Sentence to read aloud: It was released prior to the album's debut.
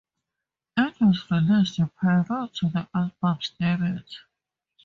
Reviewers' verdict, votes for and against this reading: accepted, 4, 2